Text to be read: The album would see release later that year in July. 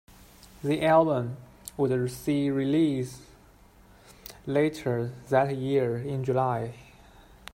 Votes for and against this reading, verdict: 1, 2, rejected